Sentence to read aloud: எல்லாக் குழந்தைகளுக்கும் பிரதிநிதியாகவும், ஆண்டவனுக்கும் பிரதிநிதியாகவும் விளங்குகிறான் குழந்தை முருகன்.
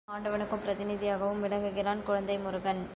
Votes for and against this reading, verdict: 1, 3, rejected